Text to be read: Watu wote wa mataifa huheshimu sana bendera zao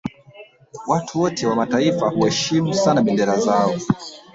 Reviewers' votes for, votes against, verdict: 0, 2, rejected